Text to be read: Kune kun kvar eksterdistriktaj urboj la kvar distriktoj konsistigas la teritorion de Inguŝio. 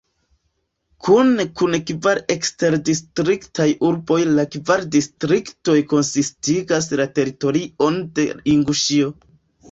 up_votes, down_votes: 2, 1